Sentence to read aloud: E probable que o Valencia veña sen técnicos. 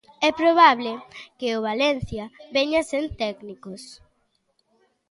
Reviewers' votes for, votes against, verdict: 2, 0, accepted